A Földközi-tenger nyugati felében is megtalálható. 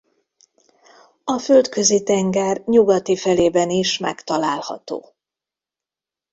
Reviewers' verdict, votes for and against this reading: accepted, 2, 0